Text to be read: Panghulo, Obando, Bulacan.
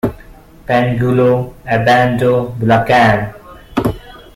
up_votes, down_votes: 1, 2